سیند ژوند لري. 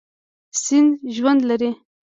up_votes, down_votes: 1, 2